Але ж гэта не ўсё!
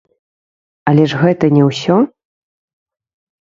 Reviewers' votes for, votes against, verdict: 0, 2, rejected